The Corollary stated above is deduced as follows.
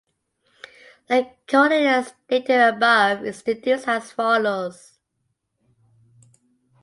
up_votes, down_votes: 2, 0